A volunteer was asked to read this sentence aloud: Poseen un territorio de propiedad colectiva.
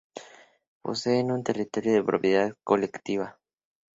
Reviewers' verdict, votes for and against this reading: accepted, 4, 0